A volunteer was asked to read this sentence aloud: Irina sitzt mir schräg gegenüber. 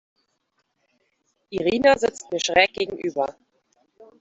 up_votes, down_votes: 1, 2